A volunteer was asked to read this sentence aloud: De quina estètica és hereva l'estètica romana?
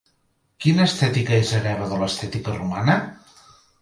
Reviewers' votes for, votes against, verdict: 2, 3, rejected